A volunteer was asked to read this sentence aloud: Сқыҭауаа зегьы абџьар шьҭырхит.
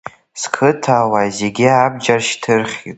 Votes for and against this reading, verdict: 2, 1, accepted